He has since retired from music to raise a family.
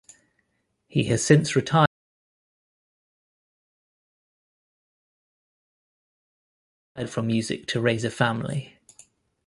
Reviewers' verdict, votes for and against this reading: rejected, 0, 2